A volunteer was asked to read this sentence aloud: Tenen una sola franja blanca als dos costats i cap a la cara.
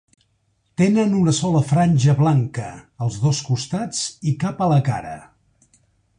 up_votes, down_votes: 4, 0